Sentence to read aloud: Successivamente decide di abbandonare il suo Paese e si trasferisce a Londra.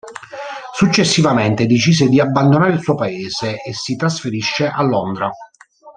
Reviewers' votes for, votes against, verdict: 0, 2, rejected